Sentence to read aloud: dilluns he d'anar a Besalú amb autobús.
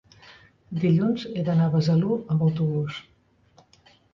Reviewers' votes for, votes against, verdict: 3, 0, accepted